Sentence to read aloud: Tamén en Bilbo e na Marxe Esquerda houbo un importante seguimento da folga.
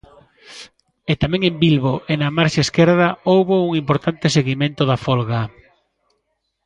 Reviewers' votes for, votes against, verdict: 0, 2, rejected